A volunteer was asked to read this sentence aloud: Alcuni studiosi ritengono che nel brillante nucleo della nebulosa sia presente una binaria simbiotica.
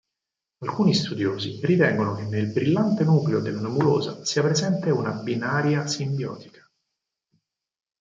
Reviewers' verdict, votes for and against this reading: accepted, 4, 0